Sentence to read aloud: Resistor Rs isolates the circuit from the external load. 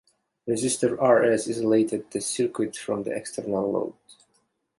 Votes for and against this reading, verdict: 2, 1, accepted